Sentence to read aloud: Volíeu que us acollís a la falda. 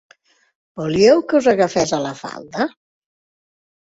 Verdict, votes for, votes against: rejected, 1, 3